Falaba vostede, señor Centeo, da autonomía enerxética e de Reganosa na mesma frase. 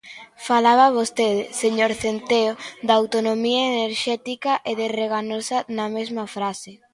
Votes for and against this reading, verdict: 2, 0, accepted